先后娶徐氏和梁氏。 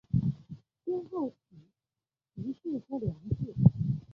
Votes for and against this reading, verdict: 1, 3, rejected